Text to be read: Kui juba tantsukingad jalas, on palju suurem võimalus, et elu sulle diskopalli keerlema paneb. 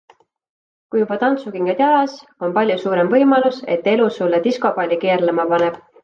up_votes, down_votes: 2, 0